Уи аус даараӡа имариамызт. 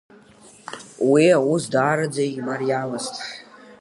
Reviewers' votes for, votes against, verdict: 2, 0, accepted